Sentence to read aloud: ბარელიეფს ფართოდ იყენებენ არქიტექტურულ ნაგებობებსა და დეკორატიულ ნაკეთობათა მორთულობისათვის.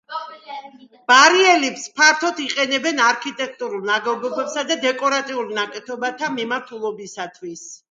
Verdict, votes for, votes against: rejected, 0, 2